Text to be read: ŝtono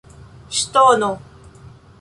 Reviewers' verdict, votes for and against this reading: accepted, 2, 1